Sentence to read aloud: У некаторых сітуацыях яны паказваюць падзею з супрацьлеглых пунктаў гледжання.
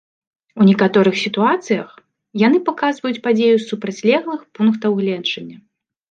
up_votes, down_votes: 2, 0